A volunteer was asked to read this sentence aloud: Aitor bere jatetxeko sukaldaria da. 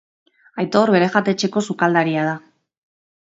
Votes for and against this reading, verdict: 3, 0, accepted